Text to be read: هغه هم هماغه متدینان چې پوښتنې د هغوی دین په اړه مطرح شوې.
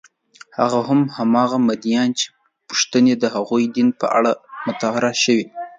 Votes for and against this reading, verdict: 0, 2, rejected